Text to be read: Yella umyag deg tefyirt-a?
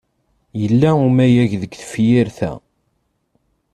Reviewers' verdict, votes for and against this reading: rejected, 1, 2